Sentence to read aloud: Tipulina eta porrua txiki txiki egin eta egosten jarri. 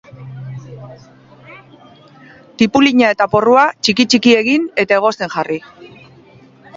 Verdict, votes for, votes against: rejected, 1, 2